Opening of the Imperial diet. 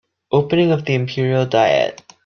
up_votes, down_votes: 2, 0